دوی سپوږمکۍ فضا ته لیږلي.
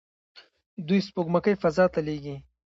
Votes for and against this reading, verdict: 2, 0, accepted